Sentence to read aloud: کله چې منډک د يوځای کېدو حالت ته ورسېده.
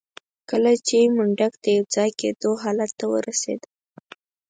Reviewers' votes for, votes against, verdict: 4, 0, accepted